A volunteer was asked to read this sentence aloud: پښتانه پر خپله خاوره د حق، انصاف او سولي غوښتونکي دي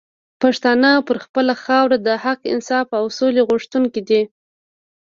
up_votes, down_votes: 2, 0